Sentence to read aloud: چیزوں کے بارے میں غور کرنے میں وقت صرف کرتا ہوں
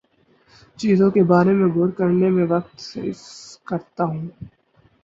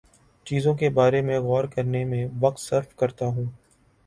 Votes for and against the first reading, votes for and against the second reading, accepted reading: 2, 4, 2, 0, second